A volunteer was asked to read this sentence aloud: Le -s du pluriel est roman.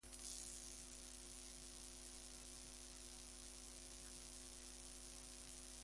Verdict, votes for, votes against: rejected, 0, 2